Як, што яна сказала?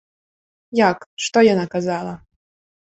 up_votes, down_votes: 0, 2